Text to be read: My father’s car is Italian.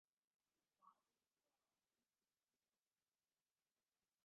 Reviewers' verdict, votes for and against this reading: rejected, 0, 2